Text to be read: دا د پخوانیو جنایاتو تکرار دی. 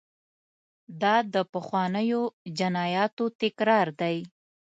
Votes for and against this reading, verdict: 2, 0, accepted